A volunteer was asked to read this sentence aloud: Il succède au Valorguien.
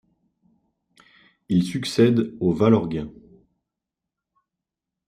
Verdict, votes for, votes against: accepted, 2, 0